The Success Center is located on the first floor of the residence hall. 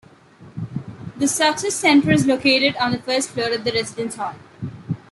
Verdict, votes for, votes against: accepted, 2, 0